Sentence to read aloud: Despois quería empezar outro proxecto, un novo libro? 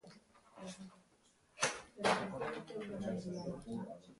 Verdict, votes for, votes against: rejected, 0, 2